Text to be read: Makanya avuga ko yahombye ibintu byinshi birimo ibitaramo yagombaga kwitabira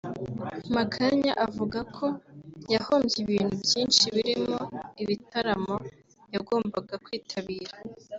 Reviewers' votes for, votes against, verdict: 2, 0, accepted